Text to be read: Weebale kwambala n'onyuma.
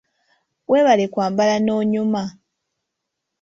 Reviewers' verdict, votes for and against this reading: accepted, 3, 0